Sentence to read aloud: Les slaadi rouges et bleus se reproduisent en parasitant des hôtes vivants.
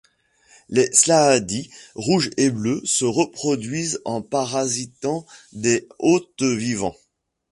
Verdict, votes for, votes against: accepted, 2, 1